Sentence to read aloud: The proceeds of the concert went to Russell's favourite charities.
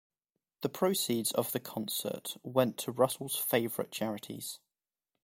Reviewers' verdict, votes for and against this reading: accepted, 2, 0